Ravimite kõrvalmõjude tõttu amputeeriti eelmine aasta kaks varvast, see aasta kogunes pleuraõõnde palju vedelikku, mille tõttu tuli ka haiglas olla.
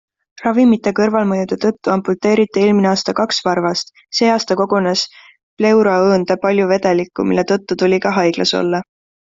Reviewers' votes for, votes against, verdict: 2, 0, accepted